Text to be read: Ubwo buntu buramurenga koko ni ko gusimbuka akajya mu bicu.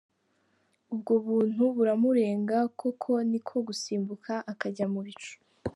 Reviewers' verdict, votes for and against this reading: accepted, 2, 1